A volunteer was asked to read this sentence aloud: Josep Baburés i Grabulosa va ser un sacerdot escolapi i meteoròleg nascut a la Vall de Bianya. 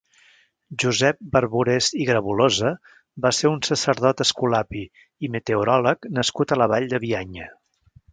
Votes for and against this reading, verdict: 0, 3, rejected